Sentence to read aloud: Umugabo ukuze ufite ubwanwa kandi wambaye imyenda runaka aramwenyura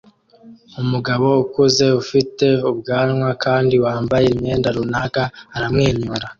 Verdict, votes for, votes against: accepted, 2, 0